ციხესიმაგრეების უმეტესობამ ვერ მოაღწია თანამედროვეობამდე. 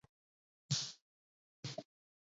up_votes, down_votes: 0, 2